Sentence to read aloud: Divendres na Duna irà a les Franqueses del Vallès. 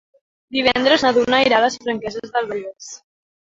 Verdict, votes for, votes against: rejected, 1, 2